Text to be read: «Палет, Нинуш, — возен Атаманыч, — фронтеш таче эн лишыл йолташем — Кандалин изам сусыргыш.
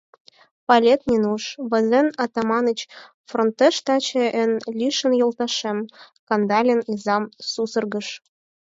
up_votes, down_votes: 2, 4